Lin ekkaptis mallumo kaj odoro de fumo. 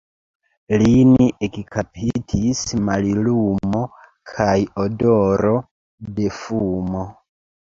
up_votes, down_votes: 0, 2